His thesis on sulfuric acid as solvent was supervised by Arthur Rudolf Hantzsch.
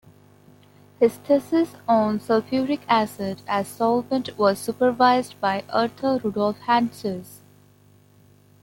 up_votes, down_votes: 2, 0